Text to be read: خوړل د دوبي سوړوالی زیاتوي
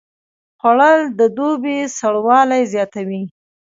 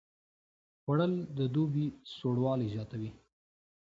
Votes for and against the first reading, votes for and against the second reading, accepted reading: 1, 2, 2, 0, second